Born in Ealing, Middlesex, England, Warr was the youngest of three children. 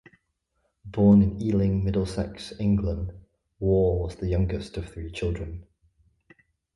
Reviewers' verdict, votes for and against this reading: accepted, 2, 0